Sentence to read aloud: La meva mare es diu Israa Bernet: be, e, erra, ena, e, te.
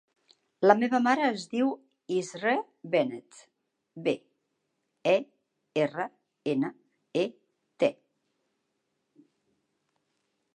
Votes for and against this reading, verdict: 2, 3, rejected